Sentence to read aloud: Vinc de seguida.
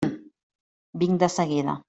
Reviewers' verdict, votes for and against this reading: accepted, 3, 0